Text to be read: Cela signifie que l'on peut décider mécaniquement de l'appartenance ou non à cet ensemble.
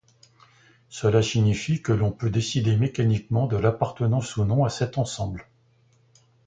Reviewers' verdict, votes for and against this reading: accepted, 2, 0